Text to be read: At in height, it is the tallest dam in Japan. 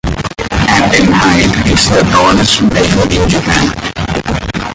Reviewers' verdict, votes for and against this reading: rejected, 1, 2